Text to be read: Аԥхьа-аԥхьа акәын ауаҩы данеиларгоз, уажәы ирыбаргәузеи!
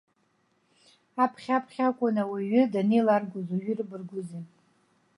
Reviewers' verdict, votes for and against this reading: accepted, 2, 0